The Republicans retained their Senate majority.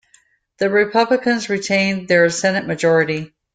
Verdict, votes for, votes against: accepted, 2, 0